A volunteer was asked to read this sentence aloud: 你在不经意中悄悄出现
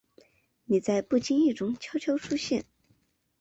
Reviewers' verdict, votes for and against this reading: accepted, 2, 0